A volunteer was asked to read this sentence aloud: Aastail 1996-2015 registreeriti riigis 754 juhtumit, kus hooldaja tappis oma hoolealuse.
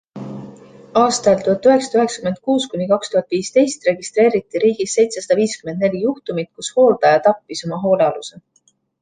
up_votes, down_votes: 0, 2